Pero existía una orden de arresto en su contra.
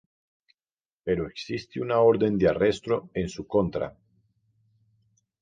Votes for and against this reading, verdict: 0, 4, rejected